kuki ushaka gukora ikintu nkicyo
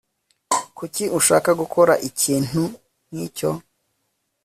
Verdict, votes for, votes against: accepted, 2, 0